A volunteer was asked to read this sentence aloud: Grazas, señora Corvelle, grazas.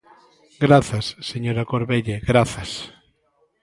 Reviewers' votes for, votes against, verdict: 2, 0, accepted